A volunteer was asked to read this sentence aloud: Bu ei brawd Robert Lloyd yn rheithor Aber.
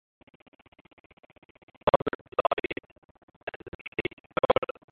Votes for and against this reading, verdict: 0, 2, rejected